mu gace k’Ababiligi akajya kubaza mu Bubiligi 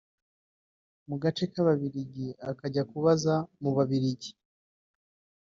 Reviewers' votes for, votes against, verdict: 2, 4, rejected